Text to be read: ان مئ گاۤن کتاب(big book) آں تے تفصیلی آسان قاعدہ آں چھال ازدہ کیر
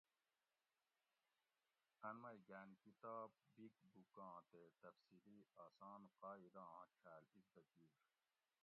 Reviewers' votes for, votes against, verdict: 1, 2, rejected